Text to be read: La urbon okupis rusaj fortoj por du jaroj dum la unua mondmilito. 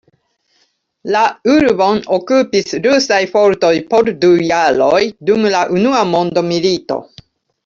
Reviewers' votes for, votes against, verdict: 2, 1, accepted